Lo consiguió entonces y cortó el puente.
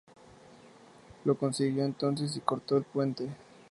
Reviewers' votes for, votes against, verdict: 4, 0, accepted